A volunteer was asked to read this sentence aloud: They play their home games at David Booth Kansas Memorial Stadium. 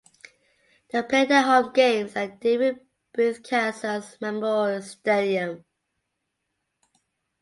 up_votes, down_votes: 2, 1